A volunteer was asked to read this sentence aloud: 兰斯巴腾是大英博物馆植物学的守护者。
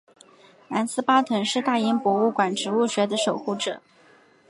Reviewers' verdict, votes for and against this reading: accepted, 3, 0